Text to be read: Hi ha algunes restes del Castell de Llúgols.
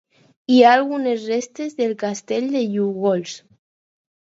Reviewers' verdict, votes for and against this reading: accepted, 4, 2